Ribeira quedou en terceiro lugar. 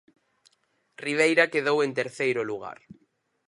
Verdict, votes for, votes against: accepted, 6, 0